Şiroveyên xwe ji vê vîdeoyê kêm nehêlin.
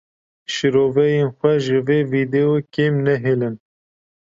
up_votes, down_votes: 0, 2